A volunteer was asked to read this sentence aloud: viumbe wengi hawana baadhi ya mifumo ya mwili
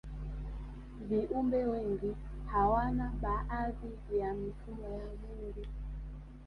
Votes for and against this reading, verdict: 0, 2, rejected